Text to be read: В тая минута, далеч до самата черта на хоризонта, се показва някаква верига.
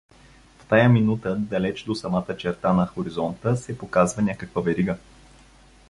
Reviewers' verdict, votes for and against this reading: accepted, 2, 0